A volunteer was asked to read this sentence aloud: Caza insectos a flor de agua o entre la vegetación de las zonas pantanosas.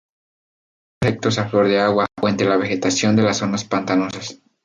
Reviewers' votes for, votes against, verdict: 0, 2, rejected